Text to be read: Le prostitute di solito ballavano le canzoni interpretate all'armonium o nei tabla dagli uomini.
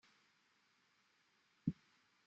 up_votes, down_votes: 1, 3